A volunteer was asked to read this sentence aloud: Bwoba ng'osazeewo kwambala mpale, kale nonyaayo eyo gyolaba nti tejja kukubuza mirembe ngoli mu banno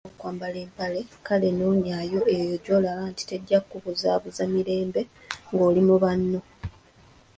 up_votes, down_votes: 0, 2